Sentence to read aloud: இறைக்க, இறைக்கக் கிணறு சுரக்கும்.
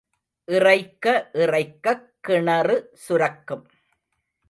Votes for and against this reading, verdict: 2, 0, accepted